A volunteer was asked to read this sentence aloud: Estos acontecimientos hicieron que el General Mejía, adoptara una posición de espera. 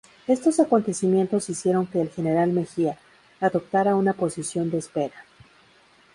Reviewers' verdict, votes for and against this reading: accepted, 4, 0